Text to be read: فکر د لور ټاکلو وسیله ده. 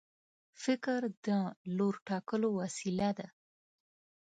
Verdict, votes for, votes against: accepted, 2, 0